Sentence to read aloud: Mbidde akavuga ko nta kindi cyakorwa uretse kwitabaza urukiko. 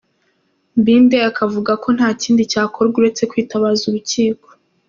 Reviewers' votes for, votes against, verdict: 2, 0, accepted